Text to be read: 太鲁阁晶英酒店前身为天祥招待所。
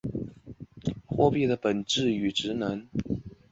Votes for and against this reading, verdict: 1, 3, rejected